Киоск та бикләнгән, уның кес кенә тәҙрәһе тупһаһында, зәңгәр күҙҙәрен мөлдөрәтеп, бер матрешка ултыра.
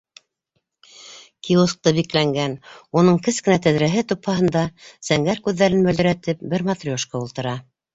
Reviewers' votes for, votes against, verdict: 2, 0, accepted